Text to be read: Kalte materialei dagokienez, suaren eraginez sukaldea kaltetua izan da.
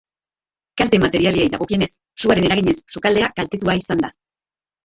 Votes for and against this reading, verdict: 2, 0, accepted